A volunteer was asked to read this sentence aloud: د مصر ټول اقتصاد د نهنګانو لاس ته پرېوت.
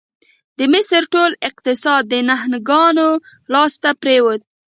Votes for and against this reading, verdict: 2, 1, accepted